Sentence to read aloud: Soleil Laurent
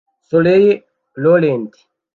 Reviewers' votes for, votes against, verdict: 1, 2, rejected